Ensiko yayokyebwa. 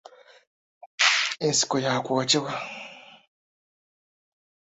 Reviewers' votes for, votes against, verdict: 1, 2, rejected